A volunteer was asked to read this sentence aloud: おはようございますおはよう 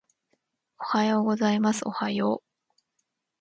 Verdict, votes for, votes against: accepted, 2, 0